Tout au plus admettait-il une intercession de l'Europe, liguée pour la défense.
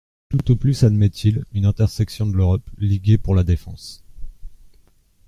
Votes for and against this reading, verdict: 0, 2, rejected